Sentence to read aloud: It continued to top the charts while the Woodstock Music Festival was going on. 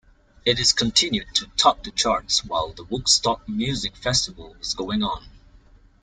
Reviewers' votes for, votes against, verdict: 0, 2, rejected